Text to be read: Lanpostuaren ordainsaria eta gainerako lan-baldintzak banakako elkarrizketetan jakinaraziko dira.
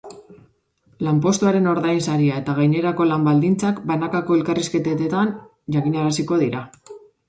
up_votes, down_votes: 1, 2